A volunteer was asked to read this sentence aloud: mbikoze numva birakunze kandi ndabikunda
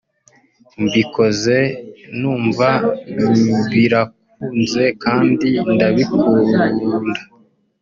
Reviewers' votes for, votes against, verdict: 1, 2, rejected